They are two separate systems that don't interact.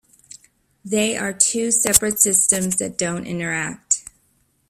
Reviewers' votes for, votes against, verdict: 2, 0, accepted